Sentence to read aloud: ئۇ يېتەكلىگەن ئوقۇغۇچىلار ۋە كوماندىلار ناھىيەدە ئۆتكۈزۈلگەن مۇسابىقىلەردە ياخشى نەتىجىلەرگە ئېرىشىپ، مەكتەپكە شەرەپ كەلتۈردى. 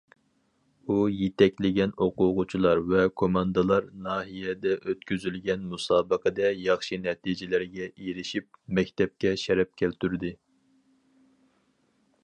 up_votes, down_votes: 0, 4